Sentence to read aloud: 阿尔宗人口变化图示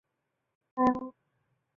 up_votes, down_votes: 0, 4